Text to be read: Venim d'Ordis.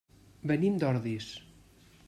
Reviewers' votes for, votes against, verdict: 3, 0, accepted